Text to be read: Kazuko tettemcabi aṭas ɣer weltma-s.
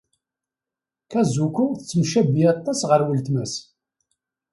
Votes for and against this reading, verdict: 2, 0, accepted